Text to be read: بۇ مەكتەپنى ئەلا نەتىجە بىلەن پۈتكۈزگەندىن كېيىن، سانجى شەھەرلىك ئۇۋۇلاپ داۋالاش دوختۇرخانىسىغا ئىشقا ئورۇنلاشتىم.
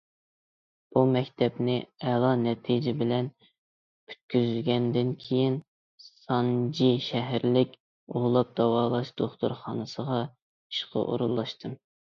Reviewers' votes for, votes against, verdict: 2, 0, accepted